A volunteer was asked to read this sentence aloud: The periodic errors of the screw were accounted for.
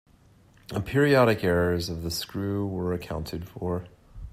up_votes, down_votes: 2, 0